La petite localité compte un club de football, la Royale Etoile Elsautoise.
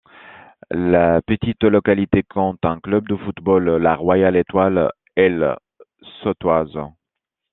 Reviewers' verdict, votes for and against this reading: accepted, 2, 1